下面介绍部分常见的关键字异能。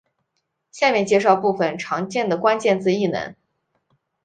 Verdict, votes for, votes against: accepted, 2, 0